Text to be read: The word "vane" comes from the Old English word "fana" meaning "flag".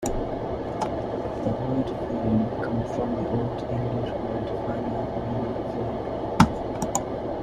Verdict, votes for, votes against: rejected, 0, 2